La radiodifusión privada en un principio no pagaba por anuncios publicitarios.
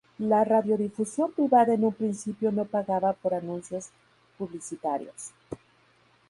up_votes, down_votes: 4, 0